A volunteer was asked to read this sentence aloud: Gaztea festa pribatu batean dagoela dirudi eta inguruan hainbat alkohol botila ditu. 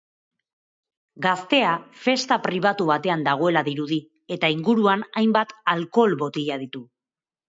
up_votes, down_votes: 3, 0